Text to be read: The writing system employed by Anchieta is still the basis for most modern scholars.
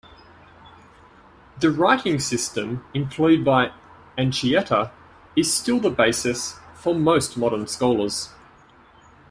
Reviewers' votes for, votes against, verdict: 2, 1, accepted